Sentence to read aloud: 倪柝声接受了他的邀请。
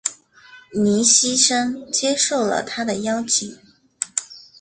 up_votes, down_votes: 1, 2